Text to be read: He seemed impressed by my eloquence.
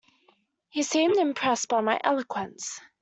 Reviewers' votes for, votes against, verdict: 2, 0, accepted